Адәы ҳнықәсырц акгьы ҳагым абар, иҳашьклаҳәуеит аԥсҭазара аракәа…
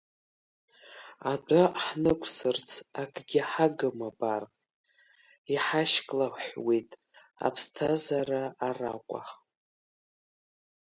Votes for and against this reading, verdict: 2, 0, accepted